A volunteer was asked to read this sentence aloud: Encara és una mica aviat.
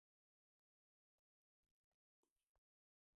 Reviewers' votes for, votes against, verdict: 0, 2, rejected